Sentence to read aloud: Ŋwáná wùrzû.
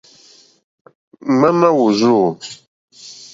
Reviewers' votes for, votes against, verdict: 2, 0, accepted